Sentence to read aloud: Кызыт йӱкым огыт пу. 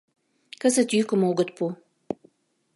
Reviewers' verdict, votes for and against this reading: accepted, 2, 0